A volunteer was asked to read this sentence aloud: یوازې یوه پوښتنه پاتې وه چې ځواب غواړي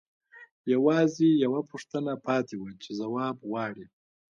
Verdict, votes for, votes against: accepted, 2, 0